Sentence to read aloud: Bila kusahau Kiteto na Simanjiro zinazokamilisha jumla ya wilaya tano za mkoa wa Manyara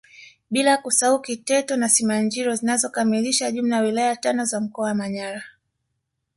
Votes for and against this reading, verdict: 2, 1, accepted